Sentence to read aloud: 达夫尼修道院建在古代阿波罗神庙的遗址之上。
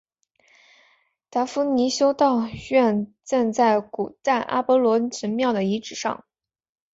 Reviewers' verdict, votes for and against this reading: accepted, 3, 2